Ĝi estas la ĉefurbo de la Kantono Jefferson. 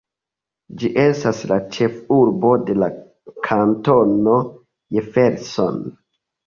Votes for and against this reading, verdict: 2, 0, accepted